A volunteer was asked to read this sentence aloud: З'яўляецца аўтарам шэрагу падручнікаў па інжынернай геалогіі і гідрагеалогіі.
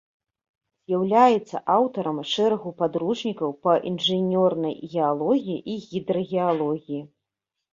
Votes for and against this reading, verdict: 1, 2, rejected